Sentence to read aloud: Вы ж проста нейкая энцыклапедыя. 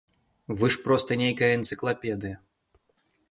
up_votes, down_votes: 2, 0